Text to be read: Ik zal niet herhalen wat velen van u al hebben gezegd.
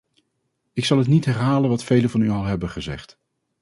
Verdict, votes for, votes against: rejected, 0, 2